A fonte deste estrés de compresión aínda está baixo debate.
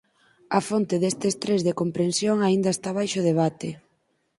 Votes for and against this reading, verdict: 2, 4, rejected